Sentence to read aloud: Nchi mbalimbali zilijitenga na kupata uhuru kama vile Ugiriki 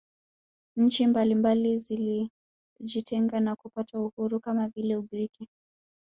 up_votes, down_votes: 1, 2